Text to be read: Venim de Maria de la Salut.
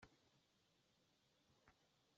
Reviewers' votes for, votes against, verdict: 0, 2, rejected